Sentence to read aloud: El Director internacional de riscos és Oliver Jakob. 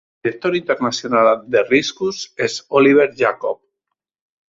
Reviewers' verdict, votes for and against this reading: rejected, 1, 2